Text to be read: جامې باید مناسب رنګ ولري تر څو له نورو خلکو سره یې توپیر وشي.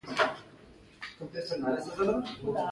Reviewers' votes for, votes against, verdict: 2, 0, accepted